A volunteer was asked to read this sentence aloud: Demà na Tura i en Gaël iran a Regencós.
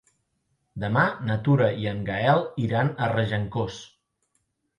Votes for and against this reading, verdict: 4, 0, accepted